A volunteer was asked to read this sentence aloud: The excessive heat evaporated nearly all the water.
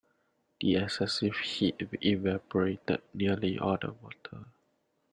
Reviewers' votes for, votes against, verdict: 0, 2, rejected